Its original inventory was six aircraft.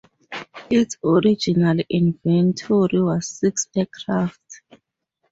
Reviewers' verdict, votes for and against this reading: rejected, 2, 2